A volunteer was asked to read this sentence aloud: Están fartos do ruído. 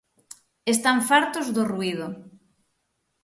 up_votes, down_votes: 6, 0